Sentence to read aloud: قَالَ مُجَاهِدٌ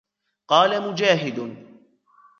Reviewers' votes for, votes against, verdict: 1, 2, rejected